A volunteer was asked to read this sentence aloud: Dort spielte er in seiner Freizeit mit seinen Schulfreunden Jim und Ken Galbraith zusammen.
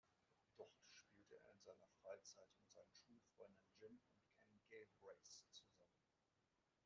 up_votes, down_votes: 0, 2